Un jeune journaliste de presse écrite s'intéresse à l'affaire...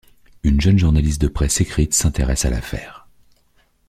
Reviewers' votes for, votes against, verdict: 1, 2, rejected